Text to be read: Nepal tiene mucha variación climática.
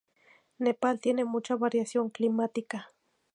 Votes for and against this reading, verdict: 4, 0, accepted